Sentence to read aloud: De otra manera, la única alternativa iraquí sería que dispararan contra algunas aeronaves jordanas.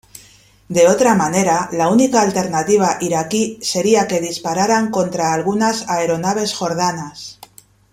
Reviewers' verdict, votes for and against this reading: accepted, 2, 0